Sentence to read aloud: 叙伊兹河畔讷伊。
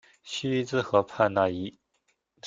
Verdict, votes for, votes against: accepted, 2, 0